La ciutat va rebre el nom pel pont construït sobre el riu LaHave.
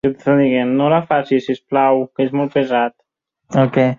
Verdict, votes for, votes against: rejected, 1, 2